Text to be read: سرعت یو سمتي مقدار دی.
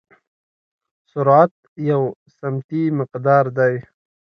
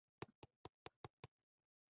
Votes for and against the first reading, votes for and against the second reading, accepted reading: 2, 0, 0, 2, first